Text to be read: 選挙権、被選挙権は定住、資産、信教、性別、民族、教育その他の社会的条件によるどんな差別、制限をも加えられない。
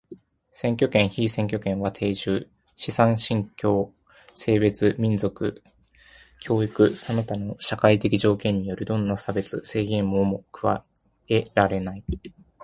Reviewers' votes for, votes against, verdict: 1, 2, rejected